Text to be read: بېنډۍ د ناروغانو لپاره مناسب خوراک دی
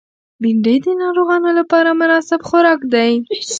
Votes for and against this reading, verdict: 2, 0, accepted